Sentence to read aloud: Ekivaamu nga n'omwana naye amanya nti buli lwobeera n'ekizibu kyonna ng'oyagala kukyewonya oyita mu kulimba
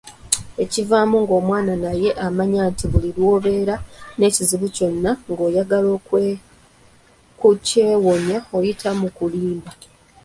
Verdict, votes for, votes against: rejected, 0, 2